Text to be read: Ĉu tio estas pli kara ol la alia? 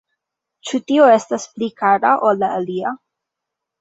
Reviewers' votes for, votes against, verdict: 2, 1, accepted